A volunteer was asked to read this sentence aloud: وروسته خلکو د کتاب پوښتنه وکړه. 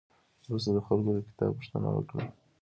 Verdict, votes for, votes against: accepted, 2, 1